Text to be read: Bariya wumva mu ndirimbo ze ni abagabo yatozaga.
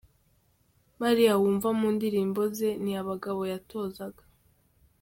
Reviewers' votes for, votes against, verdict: 2, 0, accepted